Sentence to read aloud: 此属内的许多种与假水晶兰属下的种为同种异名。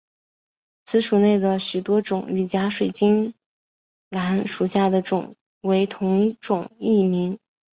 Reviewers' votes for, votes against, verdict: 2, 1, accepted